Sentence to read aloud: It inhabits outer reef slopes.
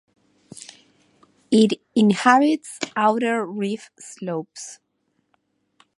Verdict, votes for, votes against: accepted, 2, 0